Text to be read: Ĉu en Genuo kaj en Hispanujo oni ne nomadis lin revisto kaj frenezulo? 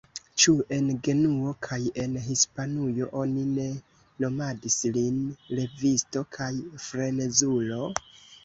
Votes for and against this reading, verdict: 1, 2, rejected